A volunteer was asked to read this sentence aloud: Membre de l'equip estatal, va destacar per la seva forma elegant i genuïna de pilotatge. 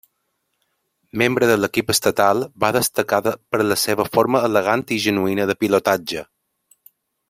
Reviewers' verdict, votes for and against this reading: rejected, 1, 2